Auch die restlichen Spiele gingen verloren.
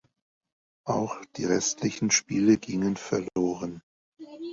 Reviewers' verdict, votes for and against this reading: accepted, 2, 0